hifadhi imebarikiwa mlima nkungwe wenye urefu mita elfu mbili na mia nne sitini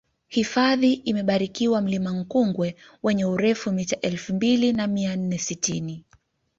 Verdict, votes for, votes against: accepted, 2, 0